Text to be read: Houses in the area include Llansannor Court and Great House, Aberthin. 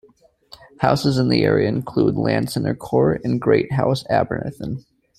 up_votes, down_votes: 2, 0